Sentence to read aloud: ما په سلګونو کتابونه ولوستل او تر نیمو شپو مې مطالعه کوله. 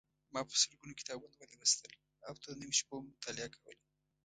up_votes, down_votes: 0, 2